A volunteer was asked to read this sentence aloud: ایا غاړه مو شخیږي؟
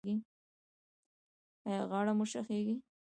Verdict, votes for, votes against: rejected, 0, 2